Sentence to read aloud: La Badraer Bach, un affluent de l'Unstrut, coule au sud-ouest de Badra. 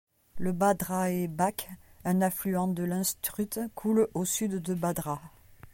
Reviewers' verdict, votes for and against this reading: rejected, 0, 2